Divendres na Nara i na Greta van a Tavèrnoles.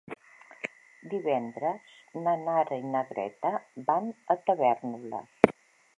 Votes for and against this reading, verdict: 2, 1, accepted